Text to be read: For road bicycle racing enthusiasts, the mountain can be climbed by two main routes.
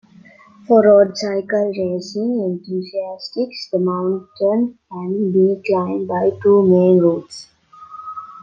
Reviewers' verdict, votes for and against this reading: rejected, 0, 2